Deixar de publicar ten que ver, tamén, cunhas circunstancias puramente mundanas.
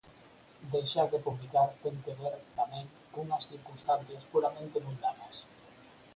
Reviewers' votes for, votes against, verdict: 2, 4, rejected